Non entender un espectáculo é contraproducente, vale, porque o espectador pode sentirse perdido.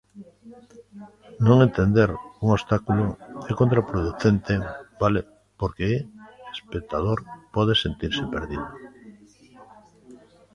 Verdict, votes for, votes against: rejected, 1, 2